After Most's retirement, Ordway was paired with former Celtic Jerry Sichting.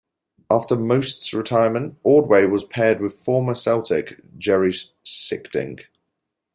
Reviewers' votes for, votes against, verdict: 0, 2, rejected